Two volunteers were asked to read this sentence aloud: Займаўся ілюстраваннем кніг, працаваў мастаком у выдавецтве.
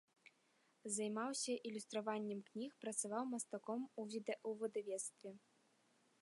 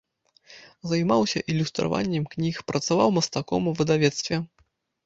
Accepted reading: second